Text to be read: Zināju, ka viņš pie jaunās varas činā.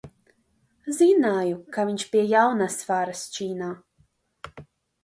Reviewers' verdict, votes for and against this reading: accepted, 2, 1